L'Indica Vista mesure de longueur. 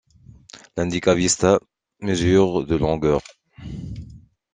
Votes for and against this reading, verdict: 2, 1, accepted